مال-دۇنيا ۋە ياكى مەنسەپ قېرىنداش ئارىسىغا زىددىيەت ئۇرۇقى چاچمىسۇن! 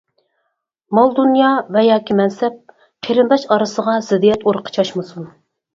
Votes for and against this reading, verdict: 4, 0, accepted